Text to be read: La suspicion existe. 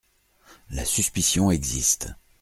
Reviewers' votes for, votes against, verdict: 2, 0, accepted